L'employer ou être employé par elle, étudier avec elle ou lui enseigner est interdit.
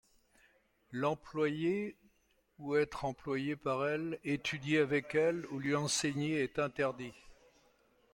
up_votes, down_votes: 2, 0